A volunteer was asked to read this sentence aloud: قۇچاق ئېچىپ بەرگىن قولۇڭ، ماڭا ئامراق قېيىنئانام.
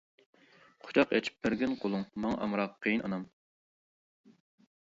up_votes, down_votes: 2, 0